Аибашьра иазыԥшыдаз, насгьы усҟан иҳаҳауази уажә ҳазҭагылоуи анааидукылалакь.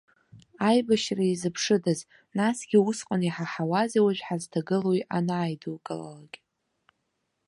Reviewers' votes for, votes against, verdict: 2, 0, accepted